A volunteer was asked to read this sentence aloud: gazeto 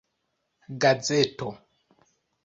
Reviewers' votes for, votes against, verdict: 2, 0, accepted